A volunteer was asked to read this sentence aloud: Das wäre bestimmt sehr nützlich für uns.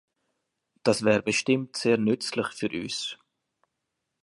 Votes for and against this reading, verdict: 1, 2, rejected